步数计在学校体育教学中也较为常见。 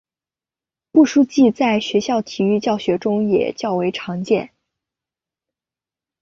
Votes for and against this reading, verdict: 2, 0, accepted